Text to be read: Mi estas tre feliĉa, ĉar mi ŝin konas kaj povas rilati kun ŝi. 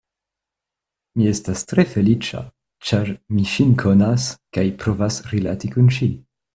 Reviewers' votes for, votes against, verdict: 0, 2, rejected